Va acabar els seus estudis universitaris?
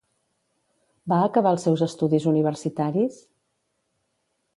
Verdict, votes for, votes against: accepted, 2, 0